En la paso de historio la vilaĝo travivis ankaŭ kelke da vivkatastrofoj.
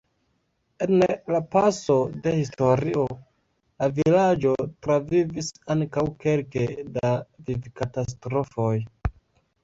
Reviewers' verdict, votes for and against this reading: rejected, 0, 2